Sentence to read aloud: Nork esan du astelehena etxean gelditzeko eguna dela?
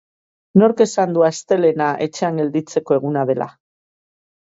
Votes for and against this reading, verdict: 2, 0, accepted